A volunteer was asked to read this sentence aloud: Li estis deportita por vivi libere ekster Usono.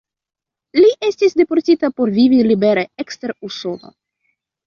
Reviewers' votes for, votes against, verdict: 2, 1, accepted